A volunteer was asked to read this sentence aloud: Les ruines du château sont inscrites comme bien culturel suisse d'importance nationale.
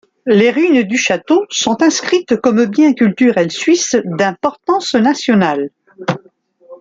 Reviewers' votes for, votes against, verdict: 1, 2, rejected